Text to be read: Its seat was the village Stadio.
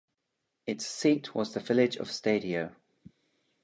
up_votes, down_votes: 2, 3